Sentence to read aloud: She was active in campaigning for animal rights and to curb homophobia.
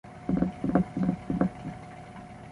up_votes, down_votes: 0, 2